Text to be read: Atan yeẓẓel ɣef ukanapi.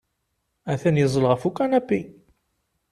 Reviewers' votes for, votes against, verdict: 2, 0, accepted